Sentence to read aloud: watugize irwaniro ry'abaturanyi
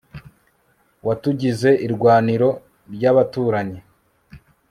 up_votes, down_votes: 2, 0